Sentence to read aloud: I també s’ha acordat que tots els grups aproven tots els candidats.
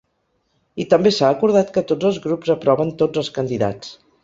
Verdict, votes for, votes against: accepted, 3, 0